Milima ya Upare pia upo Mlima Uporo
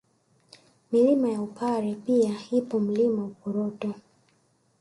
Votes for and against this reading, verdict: 1, 2, rejected